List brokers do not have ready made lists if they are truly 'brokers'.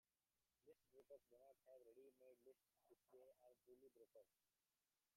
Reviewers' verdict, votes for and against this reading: rejected, 0, 2